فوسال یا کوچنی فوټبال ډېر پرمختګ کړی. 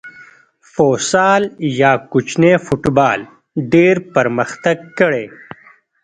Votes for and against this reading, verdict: 1, 2, rejected